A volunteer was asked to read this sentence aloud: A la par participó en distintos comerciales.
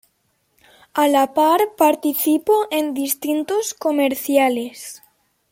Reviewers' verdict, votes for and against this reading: accepted, 2, 0